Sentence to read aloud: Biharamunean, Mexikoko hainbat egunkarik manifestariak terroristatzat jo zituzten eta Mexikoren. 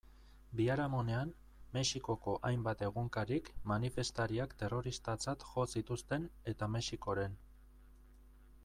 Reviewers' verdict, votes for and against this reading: accepted, 2, 0